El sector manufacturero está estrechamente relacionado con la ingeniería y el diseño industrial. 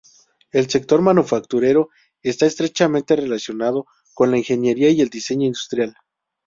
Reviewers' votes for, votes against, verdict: 2, 0, accepted